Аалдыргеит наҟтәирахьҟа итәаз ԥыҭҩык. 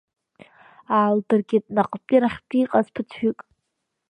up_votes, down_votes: 1, 2